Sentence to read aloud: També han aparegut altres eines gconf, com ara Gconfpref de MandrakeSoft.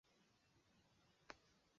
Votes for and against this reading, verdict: 0, 2, rejected